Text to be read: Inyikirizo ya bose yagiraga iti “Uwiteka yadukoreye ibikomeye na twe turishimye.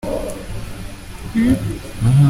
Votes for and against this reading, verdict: 0, 2, rejected